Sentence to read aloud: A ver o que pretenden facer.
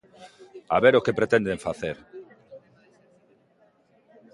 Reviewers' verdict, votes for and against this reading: accepted, 2, 0